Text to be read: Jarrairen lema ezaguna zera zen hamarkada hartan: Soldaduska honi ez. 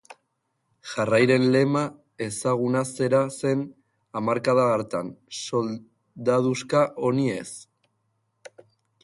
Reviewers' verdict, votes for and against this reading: rejected, 1, 2